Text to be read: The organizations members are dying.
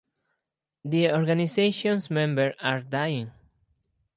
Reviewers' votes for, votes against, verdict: 0, 2, rejected